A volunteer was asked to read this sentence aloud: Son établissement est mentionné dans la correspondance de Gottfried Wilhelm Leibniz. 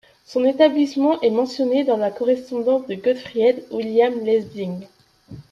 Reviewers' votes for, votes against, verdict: 2, 1, accepted